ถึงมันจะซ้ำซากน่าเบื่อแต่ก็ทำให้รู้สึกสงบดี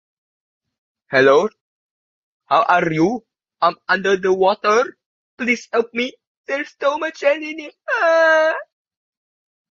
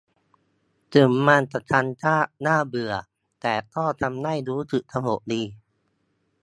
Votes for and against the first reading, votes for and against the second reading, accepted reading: 0, 2, 2, 0, second